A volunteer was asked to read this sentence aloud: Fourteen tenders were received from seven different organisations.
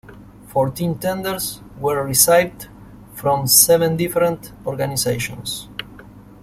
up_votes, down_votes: 1, 2